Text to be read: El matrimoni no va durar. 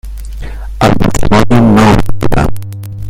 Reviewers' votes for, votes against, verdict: 1, 2, rejected